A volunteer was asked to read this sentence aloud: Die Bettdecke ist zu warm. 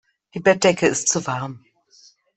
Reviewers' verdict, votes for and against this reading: accepted, 2, 0